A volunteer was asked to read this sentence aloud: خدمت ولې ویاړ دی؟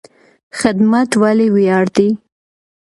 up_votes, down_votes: 2, 0